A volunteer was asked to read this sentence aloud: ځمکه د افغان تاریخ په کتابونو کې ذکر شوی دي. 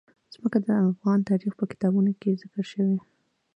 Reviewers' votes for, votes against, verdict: 2, 0, accepted